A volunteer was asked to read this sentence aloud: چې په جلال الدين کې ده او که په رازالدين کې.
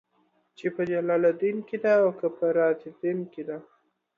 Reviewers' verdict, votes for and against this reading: accepted, 2, 0